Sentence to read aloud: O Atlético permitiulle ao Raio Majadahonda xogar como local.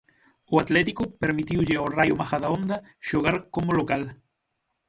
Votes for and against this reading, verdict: 9, 0, accepted